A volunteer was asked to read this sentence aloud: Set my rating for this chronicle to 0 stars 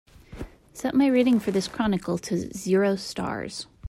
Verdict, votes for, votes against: rejected, 0, 2